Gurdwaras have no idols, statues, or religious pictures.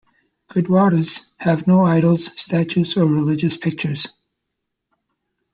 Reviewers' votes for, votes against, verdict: 2, 0, accepted